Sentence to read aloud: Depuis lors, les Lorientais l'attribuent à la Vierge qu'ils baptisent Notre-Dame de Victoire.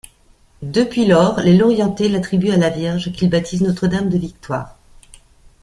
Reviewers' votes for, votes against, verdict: 2, 0, accepted